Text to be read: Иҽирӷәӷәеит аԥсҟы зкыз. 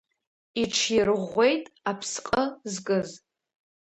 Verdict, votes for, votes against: rejected, 1, 2